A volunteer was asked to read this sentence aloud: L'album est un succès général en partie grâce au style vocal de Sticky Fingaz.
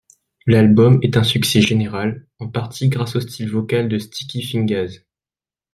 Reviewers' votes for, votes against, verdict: 1, 2, rejected